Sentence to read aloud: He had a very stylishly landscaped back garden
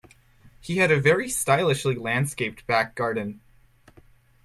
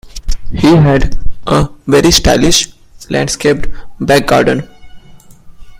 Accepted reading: first